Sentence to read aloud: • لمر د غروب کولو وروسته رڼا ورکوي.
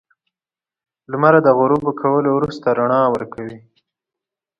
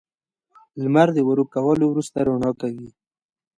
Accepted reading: first